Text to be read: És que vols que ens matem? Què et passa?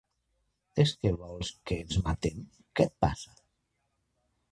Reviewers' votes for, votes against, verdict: 1, 2, rejected